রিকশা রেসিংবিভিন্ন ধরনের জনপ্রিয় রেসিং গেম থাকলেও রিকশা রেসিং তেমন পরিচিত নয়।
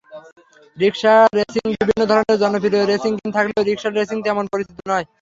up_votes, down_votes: 0, 3